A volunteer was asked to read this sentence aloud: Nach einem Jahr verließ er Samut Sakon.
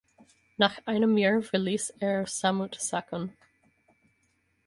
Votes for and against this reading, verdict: 4, 0, accepted